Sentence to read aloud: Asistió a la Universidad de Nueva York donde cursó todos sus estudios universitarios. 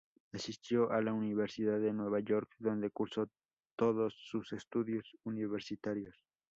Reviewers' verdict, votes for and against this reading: accepted, 2, 0